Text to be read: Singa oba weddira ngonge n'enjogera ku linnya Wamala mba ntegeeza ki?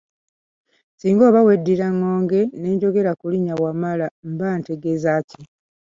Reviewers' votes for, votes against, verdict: 2, 1, accepted